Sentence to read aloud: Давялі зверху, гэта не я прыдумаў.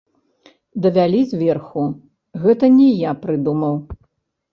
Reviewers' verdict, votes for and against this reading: rejected, 1, 2